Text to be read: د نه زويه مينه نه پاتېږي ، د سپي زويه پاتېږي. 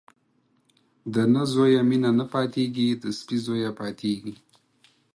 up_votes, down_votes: 4, 0